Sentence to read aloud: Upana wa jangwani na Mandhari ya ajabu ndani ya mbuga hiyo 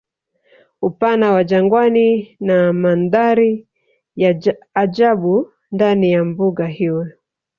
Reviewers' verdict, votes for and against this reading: rejected, 0, 2